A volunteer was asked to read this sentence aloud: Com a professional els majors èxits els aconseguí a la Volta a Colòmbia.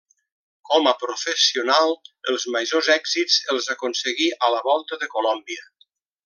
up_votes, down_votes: 1, 2